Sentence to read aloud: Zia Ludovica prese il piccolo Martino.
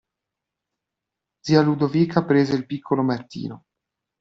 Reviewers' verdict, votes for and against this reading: accepted, 2, 0